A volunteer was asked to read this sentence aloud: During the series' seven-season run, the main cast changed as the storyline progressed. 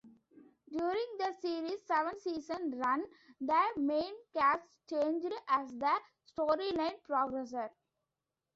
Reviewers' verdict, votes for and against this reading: rejected, 1, 2